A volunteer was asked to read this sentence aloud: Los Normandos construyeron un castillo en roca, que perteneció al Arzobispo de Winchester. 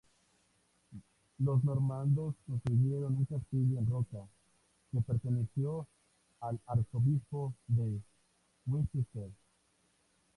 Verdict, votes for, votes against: rejected, 2, 2